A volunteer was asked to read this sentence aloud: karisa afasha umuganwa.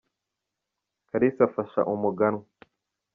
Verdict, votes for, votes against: accepted, 2, 0